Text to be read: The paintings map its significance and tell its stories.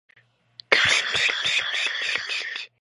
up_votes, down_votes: 0, 2